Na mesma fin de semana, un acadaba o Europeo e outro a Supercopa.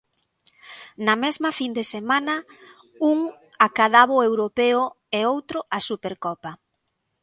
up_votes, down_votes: 0, 2